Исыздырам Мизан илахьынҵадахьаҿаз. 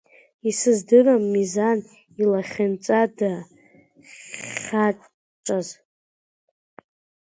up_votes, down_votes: 1, 2